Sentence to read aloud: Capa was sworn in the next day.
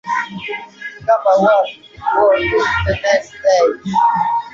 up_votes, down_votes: 0, 3